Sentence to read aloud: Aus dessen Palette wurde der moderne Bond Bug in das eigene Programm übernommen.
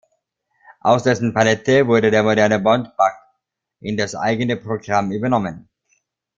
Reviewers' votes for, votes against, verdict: 1, 3, rejected